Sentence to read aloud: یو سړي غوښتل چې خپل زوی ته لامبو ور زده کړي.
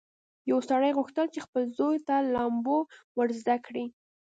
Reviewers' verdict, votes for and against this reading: accepted, 2, 0